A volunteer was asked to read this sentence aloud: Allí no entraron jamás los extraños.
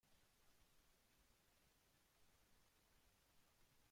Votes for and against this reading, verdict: 0, 2, rejected